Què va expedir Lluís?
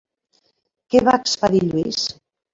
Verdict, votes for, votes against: rejected, 0, 2